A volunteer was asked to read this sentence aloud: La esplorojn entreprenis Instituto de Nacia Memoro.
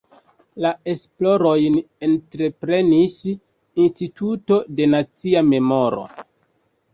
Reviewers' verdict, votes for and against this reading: rejected, 1, 2